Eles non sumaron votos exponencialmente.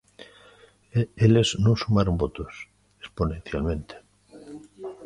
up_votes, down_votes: 2, 0